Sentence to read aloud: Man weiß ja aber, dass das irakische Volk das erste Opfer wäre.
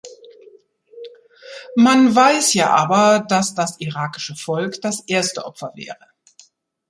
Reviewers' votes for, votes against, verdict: 2, 0, accepted